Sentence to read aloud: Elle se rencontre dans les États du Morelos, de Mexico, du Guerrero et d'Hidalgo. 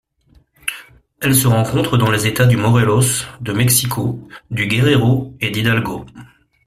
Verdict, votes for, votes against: accepted, 2, 1